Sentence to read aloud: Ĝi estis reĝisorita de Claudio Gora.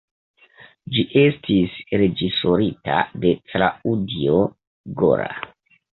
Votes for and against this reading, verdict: 0, 2, rejected